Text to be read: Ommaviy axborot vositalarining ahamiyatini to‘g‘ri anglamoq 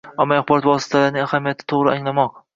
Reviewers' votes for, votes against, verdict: 1, 2, rejected